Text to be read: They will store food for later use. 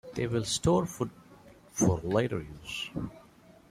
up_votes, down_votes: 2, 0